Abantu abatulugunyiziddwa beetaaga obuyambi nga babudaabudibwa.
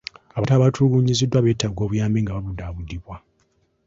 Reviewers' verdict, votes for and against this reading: accepted, 3, 2